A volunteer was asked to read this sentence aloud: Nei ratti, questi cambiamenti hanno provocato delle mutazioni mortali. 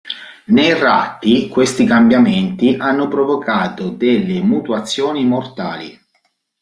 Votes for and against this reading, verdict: 0, 2, rejected